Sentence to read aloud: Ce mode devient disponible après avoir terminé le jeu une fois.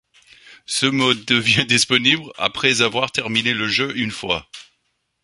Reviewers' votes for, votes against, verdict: 2, 0, accepted